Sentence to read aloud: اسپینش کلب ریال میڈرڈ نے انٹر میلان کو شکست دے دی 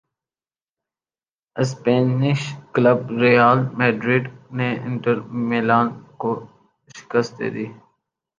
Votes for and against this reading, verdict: 7, 3, accepted